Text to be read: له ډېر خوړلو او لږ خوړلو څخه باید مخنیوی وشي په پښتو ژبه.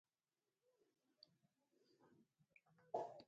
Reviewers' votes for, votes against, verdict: 0, 2, rejected